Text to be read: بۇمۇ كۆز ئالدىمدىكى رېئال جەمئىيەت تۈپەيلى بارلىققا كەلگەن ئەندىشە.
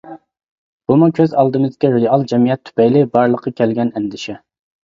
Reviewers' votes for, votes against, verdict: 0, 2, rejected